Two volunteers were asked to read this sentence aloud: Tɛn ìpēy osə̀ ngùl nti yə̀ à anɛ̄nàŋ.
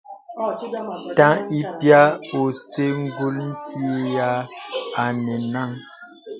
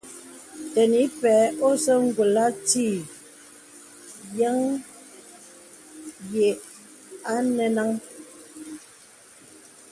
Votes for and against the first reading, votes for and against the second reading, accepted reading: 0, 2, 2, 1, second